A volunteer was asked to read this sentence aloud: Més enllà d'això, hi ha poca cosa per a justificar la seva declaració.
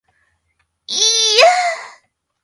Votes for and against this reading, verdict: 0, 2, rejected